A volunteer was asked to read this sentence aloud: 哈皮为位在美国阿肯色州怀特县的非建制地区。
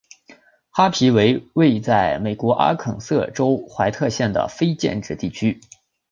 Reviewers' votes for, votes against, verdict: 7, 0, accepted